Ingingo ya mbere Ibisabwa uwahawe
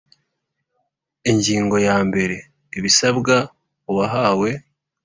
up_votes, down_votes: 2, 0